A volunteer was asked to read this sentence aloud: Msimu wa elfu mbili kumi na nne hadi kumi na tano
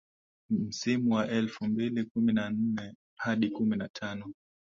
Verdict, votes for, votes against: accepted, 2, 1